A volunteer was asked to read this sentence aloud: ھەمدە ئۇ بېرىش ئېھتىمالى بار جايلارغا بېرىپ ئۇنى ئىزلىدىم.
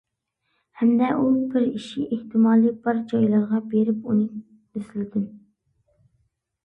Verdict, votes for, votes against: rejected, 0, 2